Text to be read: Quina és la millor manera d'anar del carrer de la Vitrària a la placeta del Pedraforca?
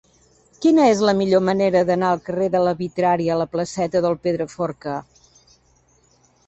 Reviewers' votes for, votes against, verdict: 0, 2, rejected